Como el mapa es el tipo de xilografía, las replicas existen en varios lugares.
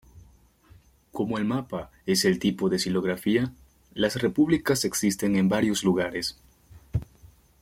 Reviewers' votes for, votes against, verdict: 0, 2, rejected